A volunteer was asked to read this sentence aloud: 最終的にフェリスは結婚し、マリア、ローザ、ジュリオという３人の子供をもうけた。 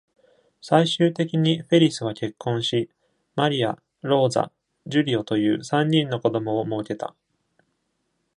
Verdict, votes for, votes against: rejected, 0, 2